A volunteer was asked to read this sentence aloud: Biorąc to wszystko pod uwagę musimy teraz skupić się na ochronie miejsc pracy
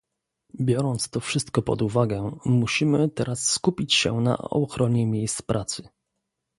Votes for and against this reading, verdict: 2, 0, accepted